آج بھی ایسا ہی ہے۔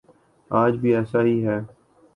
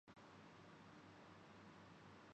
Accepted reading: first